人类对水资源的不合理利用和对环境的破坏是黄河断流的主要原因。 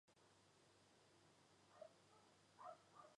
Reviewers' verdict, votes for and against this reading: rejected, 1, 3